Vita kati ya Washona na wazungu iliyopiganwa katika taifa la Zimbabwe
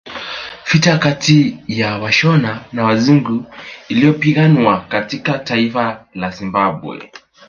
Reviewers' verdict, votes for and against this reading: rejected, 1, 2